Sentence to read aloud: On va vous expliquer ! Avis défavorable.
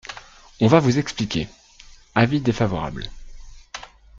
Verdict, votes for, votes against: accepted, 2, 1